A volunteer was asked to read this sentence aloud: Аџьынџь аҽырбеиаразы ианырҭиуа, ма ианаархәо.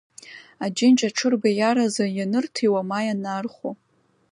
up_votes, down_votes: 2, 1